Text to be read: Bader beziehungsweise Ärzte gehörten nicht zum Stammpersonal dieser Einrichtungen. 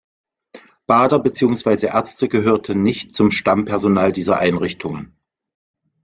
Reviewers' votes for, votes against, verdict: 2, 1, accepted